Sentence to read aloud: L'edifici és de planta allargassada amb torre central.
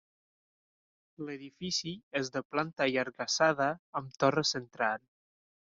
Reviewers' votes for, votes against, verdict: 0, 2, rejected